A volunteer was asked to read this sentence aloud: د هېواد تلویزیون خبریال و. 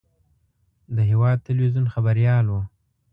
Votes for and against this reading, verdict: 2, 0, accepted